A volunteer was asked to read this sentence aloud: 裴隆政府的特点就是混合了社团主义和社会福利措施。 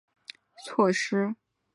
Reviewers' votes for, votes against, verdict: 0, 2, rejected